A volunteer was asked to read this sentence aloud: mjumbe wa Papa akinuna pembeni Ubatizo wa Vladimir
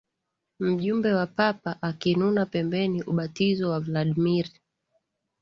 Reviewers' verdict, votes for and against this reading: accepted, 4, 0